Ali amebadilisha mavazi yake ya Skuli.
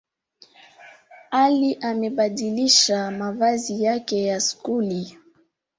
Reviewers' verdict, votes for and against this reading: rejected, 1, 2